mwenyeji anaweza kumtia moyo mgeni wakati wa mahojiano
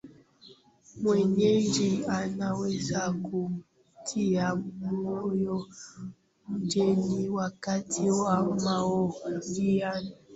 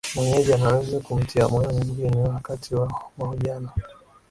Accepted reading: second